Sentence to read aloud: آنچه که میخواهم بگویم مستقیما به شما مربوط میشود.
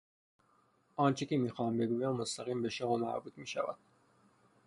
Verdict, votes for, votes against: rejected, 0, 3